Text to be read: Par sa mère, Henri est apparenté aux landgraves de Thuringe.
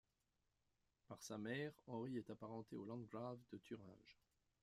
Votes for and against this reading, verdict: 0, 2, rejected